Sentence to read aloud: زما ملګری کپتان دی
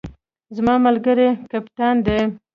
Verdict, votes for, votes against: rejected, 1, 2